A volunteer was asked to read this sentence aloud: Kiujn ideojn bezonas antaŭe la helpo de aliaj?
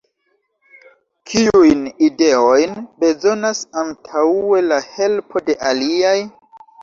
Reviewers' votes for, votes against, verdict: 3, 0, accepted